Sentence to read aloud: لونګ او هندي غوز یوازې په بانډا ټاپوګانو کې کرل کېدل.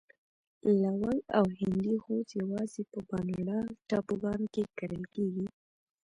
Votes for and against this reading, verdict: 3, 0, accepted